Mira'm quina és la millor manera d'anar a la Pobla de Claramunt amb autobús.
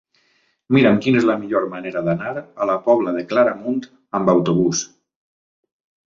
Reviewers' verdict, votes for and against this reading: accepted, 3, 0